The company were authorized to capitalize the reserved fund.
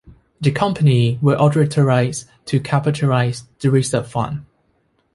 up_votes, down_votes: 0, 2